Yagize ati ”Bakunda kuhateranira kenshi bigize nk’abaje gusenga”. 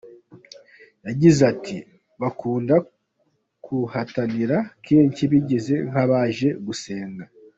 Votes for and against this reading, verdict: 0, 2, rejected